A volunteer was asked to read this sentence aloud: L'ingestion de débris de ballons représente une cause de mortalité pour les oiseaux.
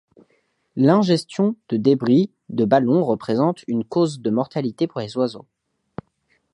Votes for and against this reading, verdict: 2, 0, accepted